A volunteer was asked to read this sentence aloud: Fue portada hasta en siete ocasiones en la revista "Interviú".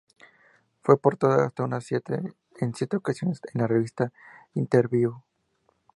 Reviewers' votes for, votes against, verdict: 0, 2, rejected